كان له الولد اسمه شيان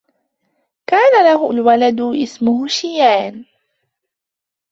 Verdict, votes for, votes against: rejected, 1, 2